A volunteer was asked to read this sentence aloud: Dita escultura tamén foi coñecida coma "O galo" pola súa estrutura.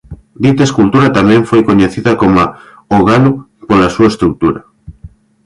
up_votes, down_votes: 2, 0